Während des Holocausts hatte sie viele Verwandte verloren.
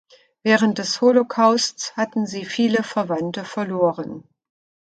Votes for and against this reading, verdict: 0, 2, rejected